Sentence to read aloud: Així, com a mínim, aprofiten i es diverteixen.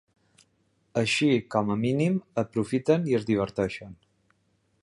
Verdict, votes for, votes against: accepted, 3, 0